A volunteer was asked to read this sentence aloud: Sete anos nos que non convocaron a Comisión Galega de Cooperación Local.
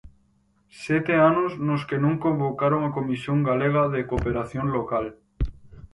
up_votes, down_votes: 4, 0